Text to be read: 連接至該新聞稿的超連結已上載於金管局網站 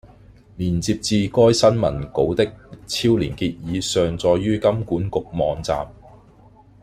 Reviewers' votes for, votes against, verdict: 2, 0, accepted